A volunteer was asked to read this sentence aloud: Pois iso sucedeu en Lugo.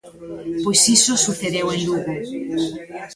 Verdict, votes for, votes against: rejected, 1, 2